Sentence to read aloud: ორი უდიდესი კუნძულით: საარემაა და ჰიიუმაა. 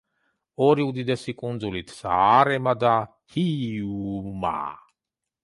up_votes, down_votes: 0, 2